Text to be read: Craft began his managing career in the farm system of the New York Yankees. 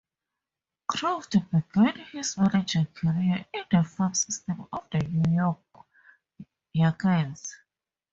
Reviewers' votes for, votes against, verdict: 2, 0, accepted